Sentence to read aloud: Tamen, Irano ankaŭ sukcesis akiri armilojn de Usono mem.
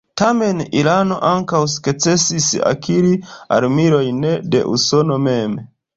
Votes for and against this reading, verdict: 1, 2, rejected